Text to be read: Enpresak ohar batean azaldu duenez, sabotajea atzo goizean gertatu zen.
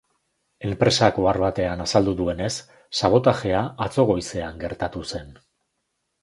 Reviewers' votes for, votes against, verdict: 2, 0, accepted